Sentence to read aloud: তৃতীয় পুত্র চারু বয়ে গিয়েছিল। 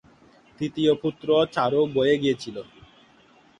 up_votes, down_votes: 15, 1